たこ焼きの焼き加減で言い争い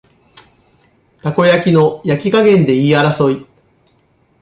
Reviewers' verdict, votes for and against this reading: accepted, 2, 0